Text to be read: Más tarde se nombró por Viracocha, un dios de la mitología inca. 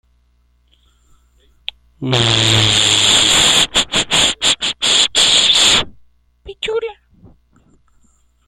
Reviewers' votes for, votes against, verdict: 0, 2, rejected